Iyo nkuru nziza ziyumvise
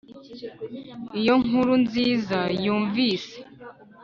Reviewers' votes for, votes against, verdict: 0, 2, rejected